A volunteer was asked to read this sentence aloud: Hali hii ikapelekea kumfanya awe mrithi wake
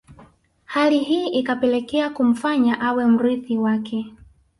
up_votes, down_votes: 2, 0